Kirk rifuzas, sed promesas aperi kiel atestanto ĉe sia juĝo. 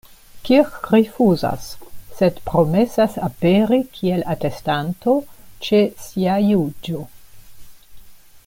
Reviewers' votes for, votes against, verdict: 2, 0, accepted